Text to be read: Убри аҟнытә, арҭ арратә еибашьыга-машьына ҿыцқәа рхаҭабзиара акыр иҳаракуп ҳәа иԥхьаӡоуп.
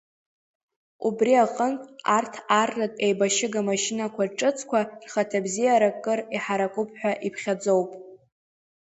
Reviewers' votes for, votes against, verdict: 1, 2, rejected